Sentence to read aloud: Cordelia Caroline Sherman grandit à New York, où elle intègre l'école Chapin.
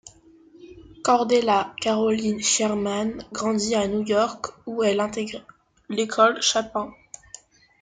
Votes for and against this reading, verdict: 2, 1, accepted